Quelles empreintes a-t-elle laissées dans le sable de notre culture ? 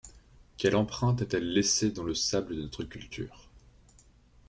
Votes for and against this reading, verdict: 1, 2, rejected